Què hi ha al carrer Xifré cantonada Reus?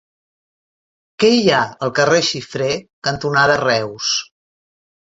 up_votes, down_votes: 3, 1